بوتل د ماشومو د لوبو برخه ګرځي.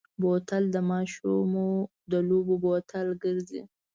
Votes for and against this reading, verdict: 1, 2, rejected